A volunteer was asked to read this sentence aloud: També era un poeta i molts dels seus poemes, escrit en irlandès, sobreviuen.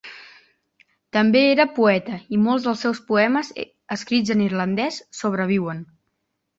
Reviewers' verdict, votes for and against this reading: rejected, 1, 2